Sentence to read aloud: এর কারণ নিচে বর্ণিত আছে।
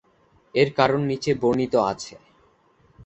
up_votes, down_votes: 6, 0